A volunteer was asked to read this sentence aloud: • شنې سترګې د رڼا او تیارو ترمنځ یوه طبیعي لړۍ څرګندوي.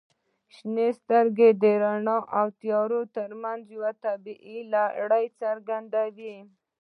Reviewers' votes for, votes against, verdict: 1, 2, rejected